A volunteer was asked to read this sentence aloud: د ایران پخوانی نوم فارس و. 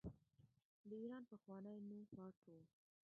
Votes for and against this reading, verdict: 0, 2, rejected